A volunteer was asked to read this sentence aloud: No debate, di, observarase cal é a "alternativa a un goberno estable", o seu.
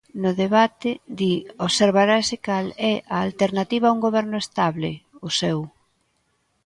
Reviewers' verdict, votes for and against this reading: accepted, 2, 0